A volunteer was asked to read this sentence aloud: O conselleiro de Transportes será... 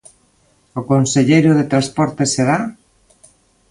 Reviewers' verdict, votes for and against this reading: accepted, 2, 0